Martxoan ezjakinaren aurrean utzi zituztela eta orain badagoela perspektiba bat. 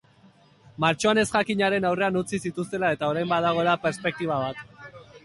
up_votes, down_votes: 2, 0